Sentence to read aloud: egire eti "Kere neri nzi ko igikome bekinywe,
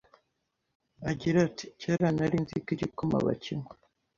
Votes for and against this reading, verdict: 1, 2, rejected